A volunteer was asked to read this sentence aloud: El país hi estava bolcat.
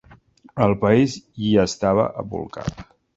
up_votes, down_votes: 0, 2